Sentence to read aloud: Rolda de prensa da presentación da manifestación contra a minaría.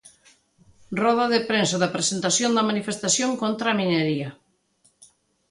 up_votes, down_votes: 1, 2